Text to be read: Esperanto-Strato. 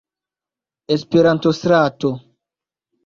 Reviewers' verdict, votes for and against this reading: accepted, 2, 0